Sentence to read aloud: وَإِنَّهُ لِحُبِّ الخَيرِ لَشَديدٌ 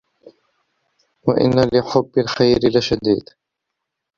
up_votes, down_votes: 1, 2